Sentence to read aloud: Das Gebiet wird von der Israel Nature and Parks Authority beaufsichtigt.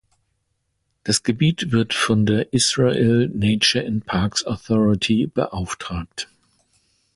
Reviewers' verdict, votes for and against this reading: rejected, 0, 2